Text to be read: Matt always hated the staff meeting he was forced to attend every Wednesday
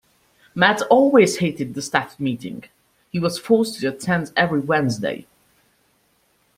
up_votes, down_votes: 2, 0